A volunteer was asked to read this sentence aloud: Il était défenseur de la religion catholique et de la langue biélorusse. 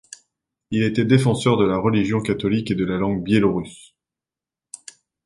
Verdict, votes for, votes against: accepted, 2, 0